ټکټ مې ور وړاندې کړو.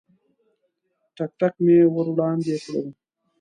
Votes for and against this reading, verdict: 1, 2, rejected